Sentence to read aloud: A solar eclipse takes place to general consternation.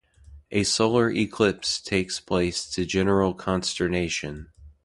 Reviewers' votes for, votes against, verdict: 2, 0, accepted